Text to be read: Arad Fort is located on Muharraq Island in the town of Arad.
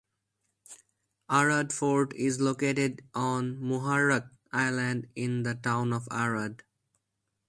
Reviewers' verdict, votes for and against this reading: rejected, 2, 2